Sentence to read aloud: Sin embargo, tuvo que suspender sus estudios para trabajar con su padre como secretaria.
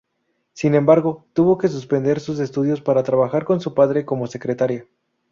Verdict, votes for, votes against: rejected, 0, 2